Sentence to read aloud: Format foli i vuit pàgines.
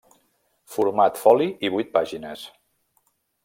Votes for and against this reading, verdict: 3, 1, accepted